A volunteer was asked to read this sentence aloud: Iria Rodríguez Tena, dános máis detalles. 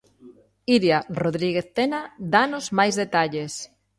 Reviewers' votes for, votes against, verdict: 3, 1, accepted